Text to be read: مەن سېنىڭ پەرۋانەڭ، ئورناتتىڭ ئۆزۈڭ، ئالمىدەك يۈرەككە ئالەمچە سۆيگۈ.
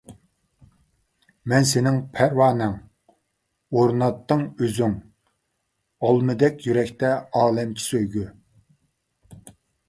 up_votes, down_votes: 0, 2